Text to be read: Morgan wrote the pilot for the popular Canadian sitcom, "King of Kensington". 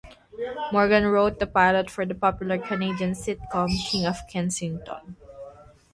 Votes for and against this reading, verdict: 3, 3, rejected